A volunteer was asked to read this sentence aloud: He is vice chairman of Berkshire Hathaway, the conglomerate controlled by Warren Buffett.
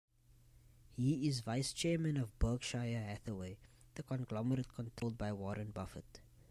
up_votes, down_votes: 0, 2